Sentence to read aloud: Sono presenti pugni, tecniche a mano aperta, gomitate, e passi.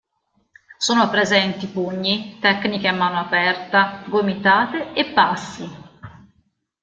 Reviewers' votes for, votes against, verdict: 2, 0, accepted